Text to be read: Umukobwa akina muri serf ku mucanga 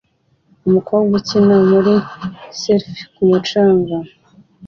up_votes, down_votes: 2, 0